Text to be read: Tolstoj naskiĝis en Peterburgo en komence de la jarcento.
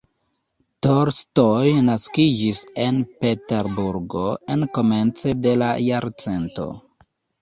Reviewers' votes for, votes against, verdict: 1, 2, rejected